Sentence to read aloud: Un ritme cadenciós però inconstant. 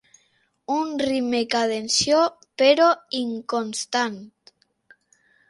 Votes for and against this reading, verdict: 0, 3, rejected